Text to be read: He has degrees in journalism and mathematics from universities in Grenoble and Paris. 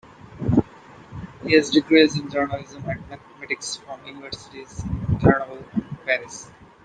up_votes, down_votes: 2, 0